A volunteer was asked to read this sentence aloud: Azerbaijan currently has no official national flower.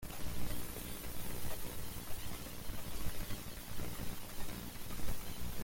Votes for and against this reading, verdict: 0, 2, rejected